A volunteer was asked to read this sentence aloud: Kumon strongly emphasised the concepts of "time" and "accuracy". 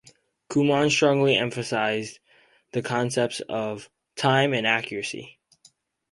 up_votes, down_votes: 4, 0